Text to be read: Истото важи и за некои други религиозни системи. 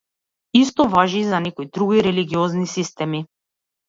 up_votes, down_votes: 1, 2